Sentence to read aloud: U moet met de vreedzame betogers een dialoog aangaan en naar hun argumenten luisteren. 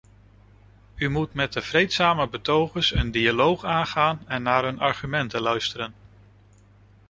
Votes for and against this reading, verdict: 2, 0, accepted